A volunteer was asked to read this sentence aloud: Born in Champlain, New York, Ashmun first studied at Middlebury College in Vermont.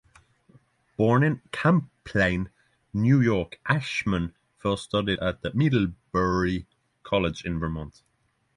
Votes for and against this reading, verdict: 3, 3, rejected